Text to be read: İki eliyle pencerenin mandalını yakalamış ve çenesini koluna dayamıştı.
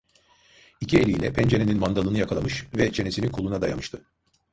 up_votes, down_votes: 2, 0